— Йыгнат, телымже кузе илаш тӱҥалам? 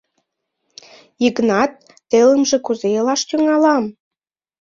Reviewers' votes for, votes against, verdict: 2, 0, accepted